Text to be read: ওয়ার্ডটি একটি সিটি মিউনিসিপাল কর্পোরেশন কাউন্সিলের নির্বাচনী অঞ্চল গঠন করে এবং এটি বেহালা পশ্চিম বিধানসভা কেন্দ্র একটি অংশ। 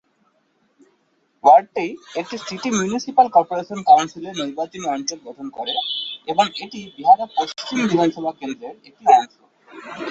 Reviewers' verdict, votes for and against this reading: rejected, 1, 3